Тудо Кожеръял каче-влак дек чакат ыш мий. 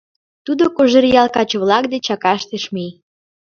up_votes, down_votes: 1, 2